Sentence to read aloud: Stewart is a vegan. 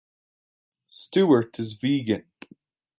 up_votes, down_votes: 0, 2